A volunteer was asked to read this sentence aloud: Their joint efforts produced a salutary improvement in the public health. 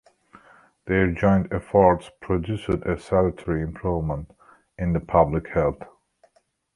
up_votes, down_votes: 1, 2